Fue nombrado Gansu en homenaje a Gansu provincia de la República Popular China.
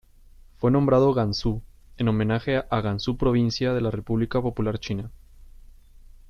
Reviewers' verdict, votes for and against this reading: accepted, 2, 0